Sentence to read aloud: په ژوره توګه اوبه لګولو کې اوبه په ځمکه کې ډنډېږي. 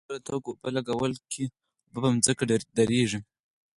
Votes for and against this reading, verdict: 6, 2, accepted